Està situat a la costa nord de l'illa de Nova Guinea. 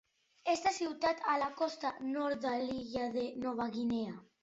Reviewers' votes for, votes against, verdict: 0, 2, rejected